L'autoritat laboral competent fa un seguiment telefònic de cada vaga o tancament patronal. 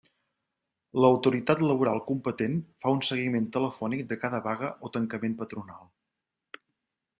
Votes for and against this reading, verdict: 3, 0, accepted